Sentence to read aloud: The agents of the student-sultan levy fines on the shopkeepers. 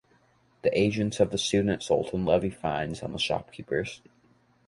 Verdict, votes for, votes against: accepted, 2, 0